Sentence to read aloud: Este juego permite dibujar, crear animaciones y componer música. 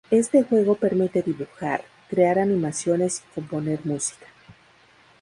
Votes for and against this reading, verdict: 2, 0, accepted